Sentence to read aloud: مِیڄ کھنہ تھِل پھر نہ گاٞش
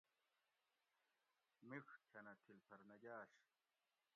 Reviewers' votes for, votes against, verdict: 2, 1, accepted